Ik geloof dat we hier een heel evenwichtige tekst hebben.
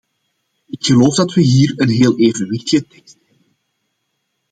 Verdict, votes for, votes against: rejected, 0, 2